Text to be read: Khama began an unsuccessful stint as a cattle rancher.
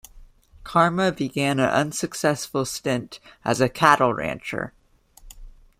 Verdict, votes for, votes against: rejected, 1, 2